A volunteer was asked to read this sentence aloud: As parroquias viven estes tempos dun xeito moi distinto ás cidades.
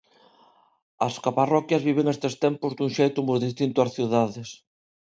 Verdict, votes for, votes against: rejected, 0, 2